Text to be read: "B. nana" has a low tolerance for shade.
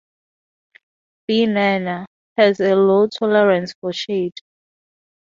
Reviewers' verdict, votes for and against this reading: accepted, 2, 0